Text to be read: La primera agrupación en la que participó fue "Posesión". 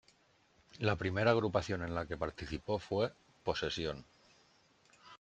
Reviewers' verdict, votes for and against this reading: accepted, 2, 0